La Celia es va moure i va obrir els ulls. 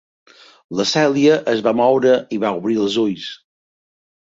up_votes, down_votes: 2, 0